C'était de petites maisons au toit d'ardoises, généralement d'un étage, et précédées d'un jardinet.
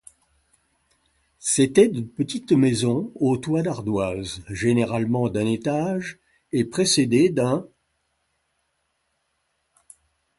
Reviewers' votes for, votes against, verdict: 0, 2, rejected